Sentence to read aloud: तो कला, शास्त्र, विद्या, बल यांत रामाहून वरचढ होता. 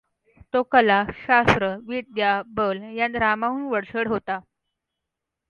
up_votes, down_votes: 2, 1